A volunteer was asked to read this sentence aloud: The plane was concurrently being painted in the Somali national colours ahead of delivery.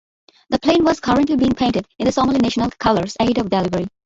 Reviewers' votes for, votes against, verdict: 0, 2, rejected